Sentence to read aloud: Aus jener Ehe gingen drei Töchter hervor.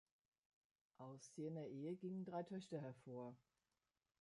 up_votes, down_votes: 1, 2